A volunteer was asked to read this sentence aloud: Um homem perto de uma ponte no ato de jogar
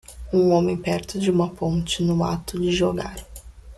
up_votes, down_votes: 2, 0